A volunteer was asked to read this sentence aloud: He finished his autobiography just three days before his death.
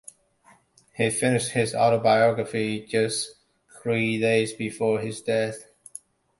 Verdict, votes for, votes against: accepted, 2, 0